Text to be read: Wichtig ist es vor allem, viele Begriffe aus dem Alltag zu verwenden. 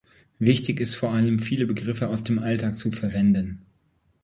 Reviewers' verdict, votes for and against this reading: accepted, 2, 0